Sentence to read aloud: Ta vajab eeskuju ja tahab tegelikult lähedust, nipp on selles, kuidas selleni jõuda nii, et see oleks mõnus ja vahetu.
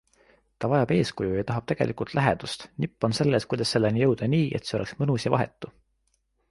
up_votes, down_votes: 2, 0